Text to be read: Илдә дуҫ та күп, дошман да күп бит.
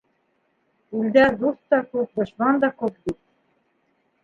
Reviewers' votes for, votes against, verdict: 1, 2, rejected